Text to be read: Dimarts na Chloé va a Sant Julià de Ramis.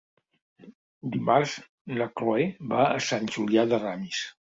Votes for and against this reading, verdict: 3, 0, accepted